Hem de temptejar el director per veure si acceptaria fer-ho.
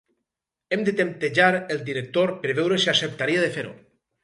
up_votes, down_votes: 4, 0